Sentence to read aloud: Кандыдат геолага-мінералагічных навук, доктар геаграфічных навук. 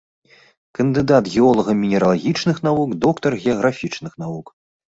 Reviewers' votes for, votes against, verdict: 2, 0, accepted